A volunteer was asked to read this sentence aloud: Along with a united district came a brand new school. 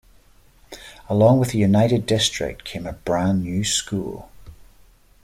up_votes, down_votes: 2, 0